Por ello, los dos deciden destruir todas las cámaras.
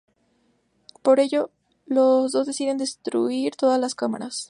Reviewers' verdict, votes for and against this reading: accepted, 2, 0